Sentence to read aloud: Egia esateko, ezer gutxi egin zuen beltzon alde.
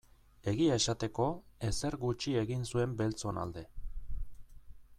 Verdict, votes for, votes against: accepted, 2, 0